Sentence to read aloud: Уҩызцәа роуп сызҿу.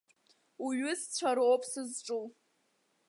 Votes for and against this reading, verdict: 2, 0, accepted